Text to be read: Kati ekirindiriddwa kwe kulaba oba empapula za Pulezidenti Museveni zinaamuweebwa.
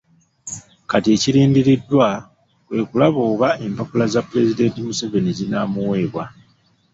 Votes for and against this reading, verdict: 2, 1, accepted